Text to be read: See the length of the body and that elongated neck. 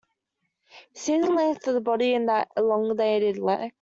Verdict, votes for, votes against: rejected, 0, 2